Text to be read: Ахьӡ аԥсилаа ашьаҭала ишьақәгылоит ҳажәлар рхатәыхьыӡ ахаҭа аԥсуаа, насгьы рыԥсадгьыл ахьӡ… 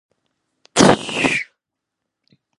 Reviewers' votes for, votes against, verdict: 0, 2, rejected